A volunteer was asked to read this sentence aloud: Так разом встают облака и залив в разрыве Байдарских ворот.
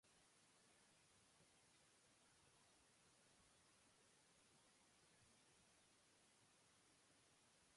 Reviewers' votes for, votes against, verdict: 1, 2, rejected